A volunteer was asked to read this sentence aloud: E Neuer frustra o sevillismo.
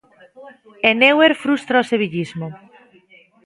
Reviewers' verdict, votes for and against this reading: accepted, 2, 0